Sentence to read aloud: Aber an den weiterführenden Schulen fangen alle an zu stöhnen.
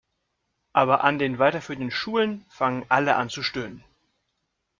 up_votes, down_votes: 2, 0